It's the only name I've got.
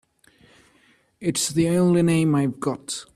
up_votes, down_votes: 2, 0